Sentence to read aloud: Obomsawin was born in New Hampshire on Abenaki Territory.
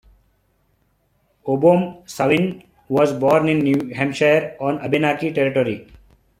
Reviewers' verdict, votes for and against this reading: accepted, 2, 0